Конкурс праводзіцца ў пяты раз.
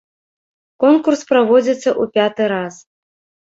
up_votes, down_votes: 1, 2